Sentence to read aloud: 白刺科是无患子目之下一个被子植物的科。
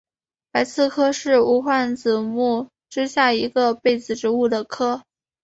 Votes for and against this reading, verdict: 2, 0, accepted